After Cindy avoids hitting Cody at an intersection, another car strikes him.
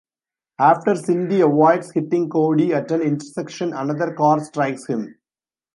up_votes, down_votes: 1, 2